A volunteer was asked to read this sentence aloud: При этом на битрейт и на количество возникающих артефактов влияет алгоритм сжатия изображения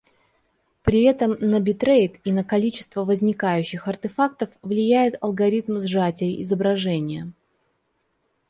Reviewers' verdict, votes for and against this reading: accepted, 2, 0